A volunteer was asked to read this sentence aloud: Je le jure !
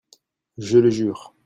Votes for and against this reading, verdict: 2, 0, accepted